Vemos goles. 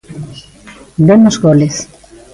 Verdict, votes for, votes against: accepted, 2, 1